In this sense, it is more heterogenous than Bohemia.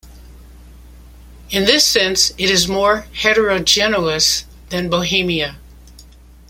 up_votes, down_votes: 1, 2